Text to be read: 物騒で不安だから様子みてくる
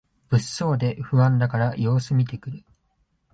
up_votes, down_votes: 2, 0